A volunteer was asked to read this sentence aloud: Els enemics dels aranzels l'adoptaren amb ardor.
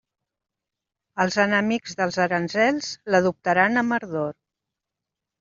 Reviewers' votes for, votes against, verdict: 0, 2, rejected